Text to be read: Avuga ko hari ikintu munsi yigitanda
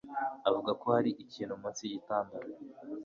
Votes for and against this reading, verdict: 2, 0, accepted